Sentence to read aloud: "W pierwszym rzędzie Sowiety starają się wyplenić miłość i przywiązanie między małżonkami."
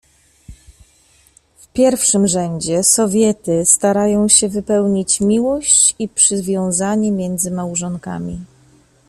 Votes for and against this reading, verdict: 1, 2, rejected